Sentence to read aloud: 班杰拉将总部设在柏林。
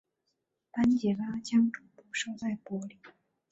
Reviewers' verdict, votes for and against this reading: accepted, 3, 1